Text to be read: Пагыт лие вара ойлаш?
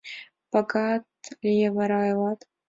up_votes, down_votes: 0, 2